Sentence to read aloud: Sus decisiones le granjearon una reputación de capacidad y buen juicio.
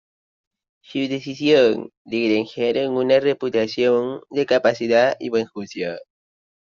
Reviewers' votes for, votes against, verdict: 0, 2, rejected